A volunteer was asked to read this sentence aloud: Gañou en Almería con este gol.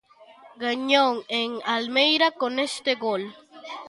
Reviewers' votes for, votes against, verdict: 0, 2, rejected